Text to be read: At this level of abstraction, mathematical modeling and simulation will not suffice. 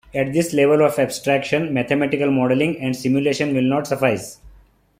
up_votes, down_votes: 2, 1